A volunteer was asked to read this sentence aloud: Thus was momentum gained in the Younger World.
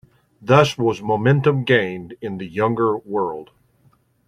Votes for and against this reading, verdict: 2, 0, accepted